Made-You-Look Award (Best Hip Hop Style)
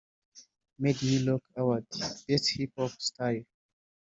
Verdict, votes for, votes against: rejected, 0, 2